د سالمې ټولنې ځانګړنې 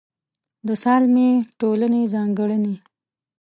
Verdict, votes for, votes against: rejected, 0, 2